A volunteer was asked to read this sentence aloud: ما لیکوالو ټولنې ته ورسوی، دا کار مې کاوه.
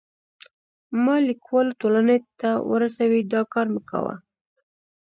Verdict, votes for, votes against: accepted, 2, 0